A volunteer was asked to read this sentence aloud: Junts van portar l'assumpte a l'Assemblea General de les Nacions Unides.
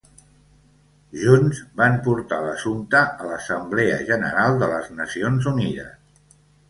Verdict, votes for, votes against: accepted, 2, 0